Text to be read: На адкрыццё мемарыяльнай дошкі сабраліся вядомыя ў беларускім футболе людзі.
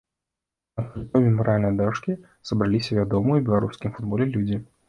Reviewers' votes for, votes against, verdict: 0, 2, rejected